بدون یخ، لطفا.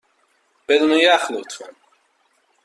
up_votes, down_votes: 2, 0